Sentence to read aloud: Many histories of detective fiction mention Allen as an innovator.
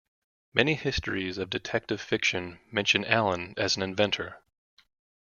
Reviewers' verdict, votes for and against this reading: rejected, 0, 2